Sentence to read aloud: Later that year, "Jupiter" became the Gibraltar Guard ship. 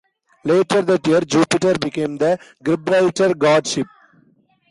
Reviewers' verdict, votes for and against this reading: rejected, 1, 2